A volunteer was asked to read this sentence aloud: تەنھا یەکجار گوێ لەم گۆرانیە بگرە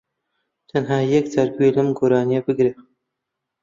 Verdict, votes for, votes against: accepted, 2, 1